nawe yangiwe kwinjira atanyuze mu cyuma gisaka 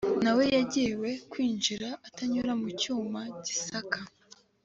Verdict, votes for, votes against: accepted, 2, 1